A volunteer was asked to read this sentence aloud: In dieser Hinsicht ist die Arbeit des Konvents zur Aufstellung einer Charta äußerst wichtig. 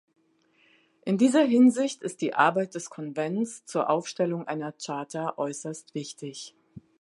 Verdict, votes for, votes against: accepted, 2, 0